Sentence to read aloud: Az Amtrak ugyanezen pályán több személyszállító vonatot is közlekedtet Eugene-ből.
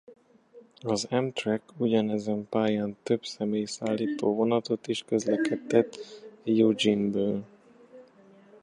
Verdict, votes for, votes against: rejected, 0, 3